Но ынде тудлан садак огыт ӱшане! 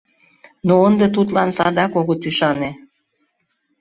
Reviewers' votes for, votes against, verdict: 2, 0, accepted